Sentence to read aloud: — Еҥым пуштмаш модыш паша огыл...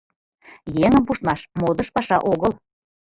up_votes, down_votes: 2, 0